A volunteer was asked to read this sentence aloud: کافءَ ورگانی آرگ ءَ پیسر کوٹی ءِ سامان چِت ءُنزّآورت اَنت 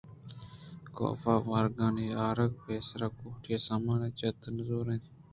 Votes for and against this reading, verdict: 0, 2, rejected